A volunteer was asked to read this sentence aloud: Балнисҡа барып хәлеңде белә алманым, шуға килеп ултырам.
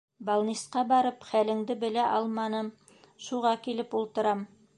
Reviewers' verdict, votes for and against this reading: accepted, 4, 0